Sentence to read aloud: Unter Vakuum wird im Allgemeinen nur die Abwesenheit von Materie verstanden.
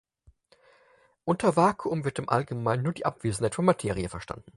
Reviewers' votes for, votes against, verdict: 4, 0, accepted